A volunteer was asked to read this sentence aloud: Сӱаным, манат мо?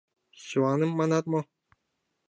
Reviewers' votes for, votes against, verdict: 0, 2, rejected